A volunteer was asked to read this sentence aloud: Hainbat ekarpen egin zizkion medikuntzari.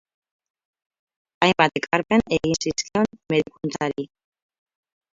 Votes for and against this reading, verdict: 0, 4, rejected